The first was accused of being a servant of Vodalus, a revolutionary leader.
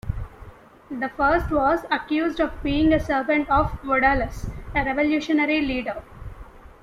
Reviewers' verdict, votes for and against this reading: accepted, 2, 0